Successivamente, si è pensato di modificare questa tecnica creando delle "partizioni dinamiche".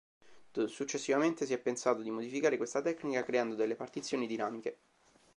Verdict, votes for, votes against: accepted, 3, 0